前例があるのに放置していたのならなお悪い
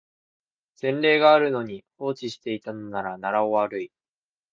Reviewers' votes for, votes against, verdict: 0, 2, rejected